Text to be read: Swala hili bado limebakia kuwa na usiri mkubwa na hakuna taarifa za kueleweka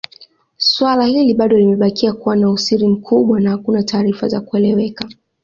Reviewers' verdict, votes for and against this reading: accepted, 2, 1